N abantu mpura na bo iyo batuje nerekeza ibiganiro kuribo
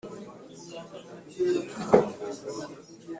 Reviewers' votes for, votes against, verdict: 0, 2, rejected